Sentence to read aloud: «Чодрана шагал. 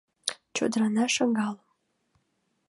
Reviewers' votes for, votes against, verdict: 2, 0, accepted